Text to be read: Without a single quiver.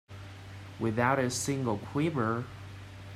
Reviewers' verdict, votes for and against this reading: rejected, 0, 2